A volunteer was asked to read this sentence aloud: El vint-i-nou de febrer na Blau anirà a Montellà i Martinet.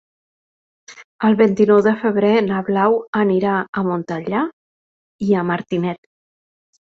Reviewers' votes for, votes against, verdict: 0, 4, rejected